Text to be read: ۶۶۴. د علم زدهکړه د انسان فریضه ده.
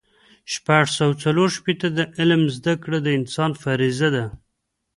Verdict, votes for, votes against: rejected, 0, 2